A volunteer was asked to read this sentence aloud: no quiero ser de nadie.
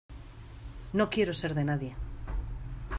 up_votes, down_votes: 2, 0